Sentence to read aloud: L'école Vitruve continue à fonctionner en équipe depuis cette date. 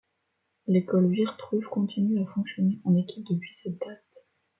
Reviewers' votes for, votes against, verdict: 1, 2, rejected